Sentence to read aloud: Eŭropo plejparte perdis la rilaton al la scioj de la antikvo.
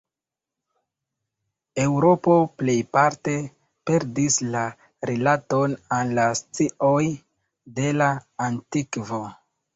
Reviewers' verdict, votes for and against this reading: accepted, 2, 1